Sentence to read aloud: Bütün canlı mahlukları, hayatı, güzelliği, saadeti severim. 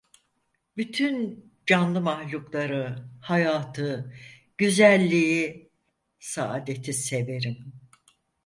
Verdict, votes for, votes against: accepted, 4, 0